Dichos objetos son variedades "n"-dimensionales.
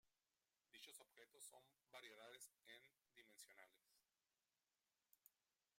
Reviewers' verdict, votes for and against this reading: rejected, 1, 2